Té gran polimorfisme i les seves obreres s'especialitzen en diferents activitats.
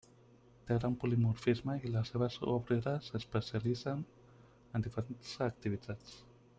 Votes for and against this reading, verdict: 0, 2, rejected